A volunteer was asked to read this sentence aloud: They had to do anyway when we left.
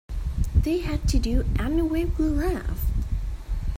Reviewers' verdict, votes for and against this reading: accepted, 2, 0